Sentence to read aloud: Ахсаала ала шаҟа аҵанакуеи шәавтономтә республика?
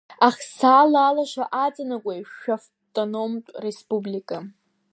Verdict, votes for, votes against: rejected, 1, 2